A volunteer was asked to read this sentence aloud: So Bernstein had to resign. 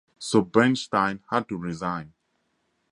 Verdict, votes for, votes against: accepted, 4, 2